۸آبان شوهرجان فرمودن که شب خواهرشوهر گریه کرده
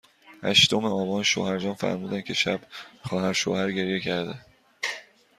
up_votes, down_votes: 0, 2